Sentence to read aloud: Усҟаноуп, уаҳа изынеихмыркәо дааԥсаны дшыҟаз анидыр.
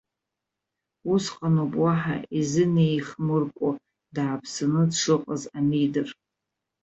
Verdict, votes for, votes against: accepted, 2, 0